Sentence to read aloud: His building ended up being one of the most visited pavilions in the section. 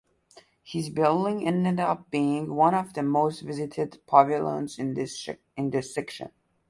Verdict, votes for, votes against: rejected, 0, 2